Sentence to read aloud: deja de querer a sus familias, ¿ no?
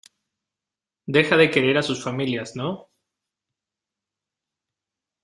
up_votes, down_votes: 2, 0